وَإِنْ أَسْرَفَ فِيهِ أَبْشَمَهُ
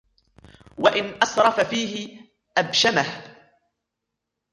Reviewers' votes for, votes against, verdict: 2, 1, accepted